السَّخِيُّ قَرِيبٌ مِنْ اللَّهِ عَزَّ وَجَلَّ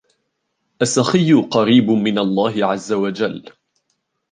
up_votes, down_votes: 2, 0